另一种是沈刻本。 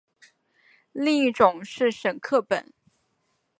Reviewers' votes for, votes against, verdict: 2, 0, accepted